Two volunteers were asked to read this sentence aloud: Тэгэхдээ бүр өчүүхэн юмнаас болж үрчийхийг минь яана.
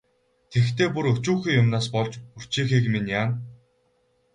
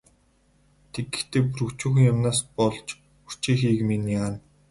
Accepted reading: first